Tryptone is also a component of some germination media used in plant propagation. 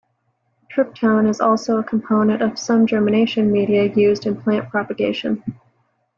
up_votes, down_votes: 2, 0